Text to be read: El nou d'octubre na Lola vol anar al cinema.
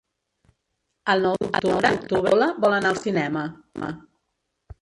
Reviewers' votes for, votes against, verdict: 0, 2, rejected